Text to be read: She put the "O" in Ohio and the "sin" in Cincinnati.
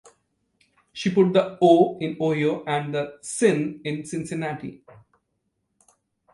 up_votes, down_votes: 1, 2